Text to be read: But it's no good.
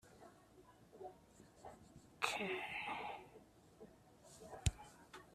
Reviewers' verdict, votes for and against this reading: rejected, 0, 2